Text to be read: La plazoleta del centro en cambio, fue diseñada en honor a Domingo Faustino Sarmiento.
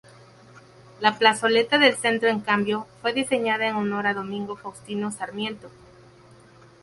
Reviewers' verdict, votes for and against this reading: accepted, 2, 0